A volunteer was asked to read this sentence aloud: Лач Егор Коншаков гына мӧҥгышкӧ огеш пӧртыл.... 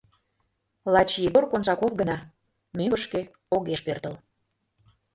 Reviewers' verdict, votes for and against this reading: rejected, 1, 2